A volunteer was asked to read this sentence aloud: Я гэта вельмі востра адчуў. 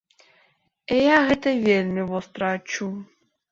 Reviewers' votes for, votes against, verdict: 4, 1, accepted